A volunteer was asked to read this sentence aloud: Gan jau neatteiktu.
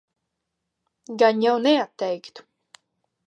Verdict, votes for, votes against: accepted, 2, 0